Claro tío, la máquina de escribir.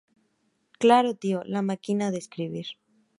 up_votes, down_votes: 2, 0